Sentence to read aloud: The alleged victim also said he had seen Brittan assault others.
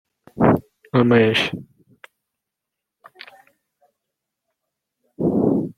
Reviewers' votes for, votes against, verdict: 0, 2, rejected